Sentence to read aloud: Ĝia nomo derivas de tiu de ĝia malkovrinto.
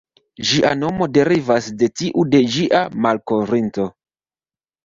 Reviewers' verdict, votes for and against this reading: rejected, 1, 2